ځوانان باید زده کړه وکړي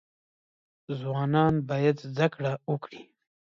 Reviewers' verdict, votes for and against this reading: rejected, 0, 2